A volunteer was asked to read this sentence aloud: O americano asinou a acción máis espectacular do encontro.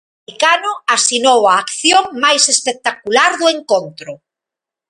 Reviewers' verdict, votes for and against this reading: rejected, 0, 2